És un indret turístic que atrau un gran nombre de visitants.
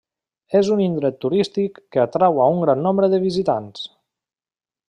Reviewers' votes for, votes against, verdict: 1, 2, rejected